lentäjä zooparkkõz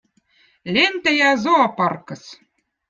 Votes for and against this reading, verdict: 2, 0, accepted